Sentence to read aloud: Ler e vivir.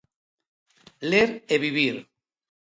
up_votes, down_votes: 2, 0